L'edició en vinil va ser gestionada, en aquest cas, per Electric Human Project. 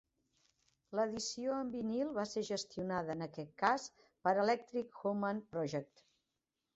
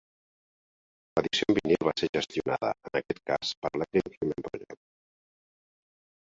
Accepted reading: first